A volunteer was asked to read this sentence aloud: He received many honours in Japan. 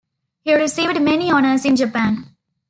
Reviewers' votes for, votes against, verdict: 1, 2, rejected